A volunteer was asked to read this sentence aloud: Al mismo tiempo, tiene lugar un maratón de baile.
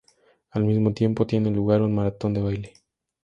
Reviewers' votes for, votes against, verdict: 4, 0, accepted